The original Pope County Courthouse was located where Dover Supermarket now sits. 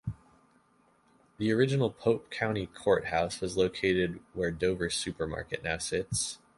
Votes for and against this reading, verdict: 2, 0, accepted